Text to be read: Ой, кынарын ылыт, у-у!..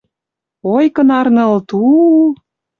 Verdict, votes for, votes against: accepted, 2, 0